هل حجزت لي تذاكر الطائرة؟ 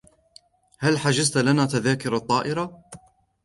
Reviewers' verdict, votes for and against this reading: accepted, 2, 0